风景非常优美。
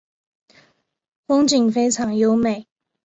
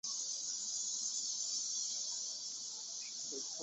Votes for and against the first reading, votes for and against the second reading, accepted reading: 3, 0, 3, 6, first